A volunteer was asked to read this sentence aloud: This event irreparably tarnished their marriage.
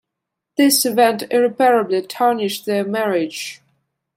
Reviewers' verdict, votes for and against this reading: accepted, 2, 1